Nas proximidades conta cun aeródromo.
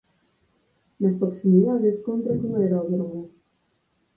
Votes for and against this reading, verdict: 0, 6, rejected